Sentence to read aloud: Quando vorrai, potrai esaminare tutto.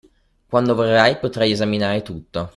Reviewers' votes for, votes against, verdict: 2, 1, accepted